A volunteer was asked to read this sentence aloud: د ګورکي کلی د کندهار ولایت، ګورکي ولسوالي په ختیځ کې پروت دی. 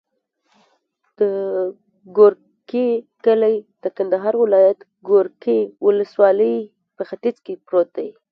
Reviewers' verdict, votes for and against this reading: accepted, 2, 0